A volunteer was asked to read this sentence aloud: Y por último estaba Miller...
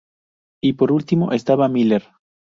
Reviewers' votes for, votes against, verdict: 2, 0, accepted